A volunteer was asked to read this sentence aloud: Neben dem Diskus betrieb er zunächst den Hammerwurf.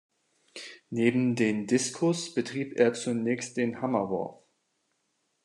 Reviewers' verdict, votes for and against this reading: accepted, 2, 1